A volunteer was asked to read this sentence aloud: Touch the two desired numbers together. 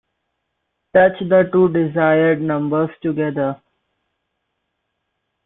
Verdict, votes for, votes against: accepted, 2, 0